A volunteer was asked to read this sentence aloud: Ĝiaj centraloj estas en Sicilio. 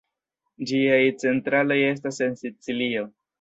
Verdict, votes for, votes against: rejected, 0, 2